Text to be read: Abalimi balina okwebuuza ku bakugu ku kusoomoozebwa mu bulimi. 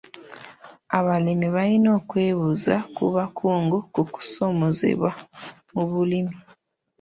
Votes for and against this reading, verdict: 2, 1, accepted